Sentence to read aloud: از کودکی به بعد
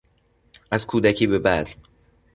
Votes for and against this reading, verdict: 2, 0, accepted